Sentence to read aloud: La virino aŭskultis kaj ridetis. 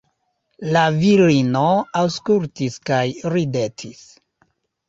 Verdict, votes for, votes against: accepted, 2, 0